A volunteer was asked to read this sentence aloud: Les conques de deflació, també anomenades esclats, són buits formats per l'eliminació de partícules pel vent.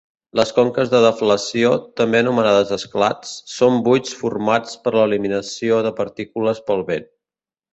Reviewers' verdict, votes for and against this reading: accepted, 2, 0